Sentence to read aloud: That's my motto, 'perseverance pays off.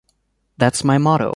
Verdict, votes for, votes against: rejected, 1, 2